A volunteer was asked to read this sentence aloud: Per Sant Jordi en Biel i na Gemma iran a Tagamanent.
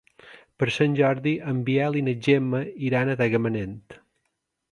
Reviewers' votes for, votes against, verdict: 2, 0, accepted